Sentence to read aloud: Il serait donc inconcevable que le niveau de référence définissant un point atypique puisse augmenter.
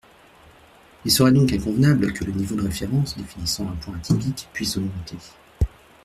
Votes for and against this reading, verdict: 0, 2, rejected